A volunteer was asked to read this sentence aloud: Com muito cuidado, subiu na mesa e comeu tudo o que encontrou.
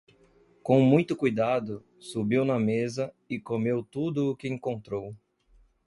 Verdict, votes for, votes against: accepted, 2, 0